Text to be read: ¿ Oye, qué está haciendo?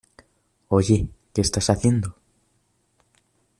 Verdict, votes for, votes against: accepted, 2, 0